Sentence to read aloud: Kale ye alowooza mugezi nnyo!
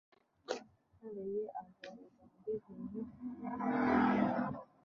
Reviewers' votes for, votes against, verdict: 0, 2, rejected